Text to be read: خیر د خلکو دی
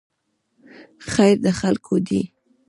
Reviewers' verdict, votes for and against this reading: rejected, 1, 2